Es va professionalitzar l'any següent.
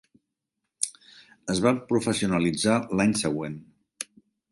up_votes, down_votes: 1, 2